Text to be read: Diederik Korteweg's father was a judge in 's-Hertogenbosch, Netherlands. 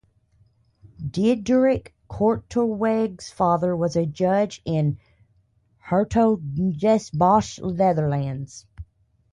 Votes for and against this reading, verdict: 0, 2, rejected